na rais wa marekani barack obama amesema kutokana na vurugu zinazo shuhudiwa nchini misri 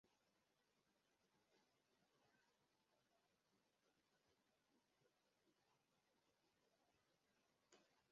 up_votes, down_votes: 0, 2